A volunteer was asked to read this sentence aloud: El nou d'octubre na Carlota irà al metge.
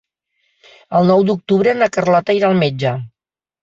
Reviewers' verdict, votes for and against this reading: accepted, 4, 0